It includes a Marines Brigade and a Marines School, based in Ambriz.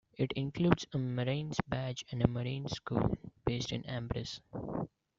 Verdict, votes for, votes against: rejected, 1, 2